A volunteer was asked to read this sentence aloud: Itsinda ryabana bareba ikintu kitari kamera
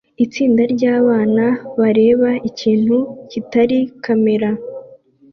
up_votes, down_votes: 2, 0